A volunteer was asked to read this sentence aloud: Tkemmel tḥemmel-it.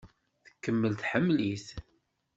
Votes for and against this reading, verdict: 2, 0, accepted